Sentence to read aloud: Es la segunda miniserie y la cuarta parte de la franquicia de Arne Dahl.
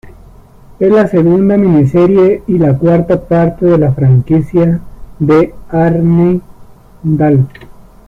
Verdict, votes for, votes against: accepted, 2, 0